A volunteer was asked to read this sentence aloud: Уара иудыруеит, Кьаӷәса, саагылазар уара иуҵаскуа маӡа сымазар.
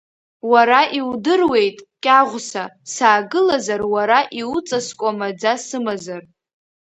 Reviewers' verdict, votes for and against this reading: accepted, 3, 0